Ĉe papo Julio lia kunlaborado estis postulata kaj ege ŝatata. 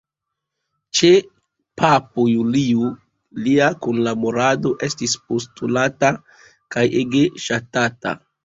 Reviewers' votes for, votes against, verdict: 2, 1, accepted